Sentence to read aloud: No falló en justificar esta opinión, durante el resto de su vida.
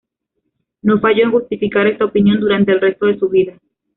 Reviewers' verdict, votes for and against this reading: rejected, 1, 2